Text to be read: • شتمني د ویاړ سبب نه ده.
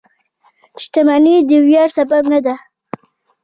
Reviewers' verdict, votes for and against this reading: accepted, 2, 0